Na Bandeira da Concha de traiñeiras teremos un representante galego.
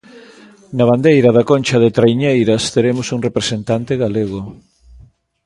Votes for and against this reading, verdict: 2, 0, accepted